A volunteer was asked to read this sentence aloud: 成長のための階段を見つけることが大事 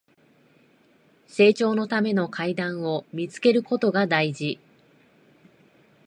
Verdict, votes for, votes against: accepted, 2, 0